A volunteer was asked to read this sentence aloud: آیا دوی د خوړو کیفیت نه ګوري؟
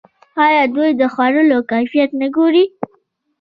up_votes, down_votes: 2, 1